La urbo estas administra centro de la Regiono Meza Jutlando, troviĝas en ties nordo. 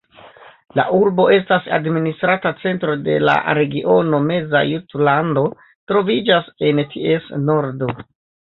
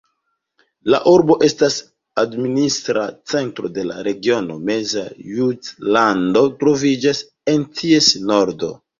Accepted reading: first